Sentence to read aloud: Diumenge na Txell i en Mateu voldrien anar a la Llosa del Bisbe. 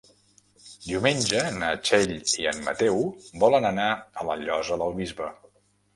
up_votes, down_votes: 0, 2